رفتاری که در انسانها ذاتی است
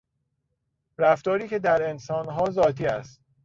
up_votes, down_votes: 2, 0